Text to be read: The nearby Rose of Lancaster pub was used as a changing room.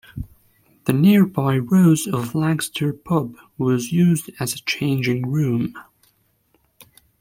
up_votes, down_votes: 2, 0